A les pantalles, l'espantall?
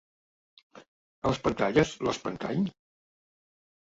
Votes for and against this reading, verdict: 2, 0, accepted